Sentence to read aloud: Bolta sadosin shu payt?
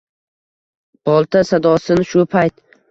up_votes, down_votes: 2, 0